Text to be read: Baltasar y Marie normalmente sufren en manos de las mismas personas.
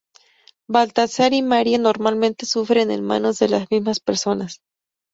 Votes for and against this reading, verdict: 2, 2, rejected